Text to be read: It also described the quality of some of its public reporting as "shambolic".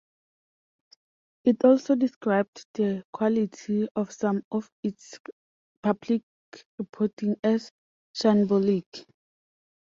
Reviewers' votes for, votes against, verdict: 2, 0, accepted